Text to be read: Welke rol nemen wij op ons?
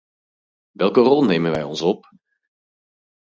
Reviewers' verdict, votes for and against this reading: rejected, 0, 4